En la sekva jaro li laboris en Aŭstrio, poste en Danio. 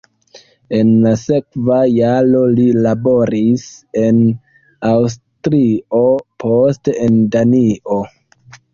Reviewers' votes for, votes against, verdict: 2, 3, rejected